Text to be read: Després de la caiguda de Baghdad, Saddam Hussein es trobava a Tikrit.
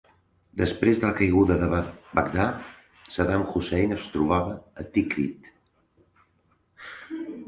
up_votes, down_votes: 1, 2